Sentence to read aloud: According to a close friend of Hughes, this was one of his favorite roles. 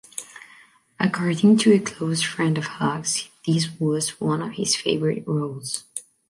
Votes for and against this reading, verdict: 1, 2, rejected